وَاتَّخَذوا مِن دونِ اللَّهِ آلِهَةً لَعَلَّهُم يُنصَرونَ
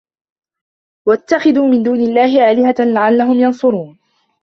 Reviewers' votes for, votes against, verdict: 0, 2, rejected